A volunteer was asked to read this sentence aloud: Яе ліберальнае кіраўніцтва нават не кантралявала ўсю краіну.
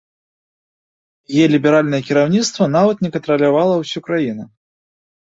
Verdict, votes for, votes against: rejected, 1, 2